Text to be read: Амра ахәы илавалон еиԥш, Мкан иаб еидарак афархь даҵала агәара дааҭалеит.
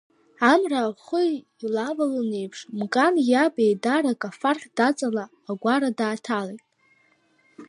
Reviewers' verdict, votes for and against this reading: rejected, 0, 2